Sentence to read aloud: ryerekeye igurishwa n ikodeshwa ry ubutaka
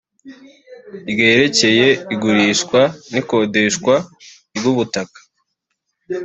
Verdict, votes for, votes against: accepted, 2, 0